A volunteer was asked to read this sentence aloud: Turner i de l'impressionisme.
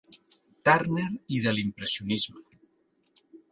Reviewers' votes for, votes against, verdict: 2, 0, accepted